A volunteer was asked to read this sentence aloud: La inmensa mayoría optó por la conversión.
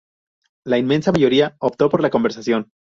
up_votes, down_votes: 0, 2